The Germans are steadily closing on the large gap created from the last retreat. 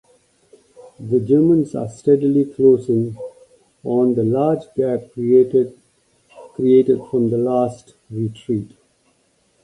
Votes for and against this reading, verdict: 0, 2, rejected